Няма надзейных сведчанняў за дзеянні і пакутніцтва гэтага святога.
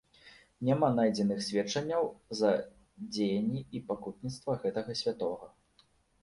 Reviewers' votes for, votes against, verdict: 0, 2, rejected